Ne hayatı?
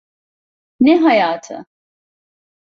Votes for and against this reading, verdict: 2, 0, accepted